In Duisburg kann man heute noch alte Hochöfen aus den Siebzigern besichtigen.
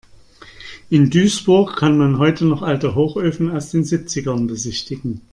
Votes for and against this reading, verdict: 2, 0, accepted